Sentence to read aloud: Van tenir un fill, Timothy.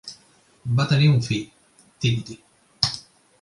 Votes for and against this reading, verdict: 0, 2, rejected